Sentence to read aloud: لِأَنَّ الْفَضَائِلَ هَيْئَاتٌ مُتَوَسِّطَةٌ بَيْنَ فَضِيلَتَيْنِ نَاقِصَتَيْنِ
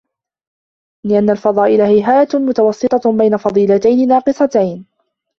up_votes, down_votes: 2, 0